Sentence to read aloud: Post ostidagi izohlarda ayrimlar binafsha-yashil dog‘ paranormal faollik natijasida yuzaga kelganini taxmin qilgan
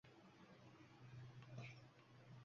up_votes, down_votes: 1, 2